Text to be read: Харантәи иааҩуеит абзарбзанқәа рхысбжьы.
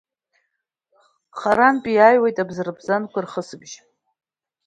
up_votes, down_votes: 2, 0